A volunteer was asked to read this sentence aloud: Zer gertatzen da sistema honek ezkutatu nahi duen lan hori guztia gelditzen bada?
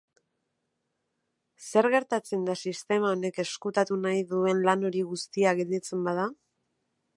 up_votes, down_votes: 2, 0